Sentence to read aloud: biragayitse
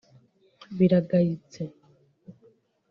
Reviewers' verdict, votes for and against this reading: rejected, 0, 2